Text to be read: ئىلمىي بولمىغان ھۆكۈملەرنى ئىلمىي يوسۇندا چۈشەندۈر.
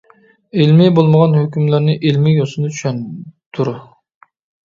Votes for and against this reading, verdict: 1, 2, rejected